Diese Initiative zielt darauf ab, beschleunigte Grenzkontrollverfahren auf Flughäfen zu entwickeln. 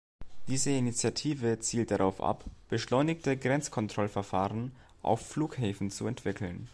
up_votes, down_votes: 2, 0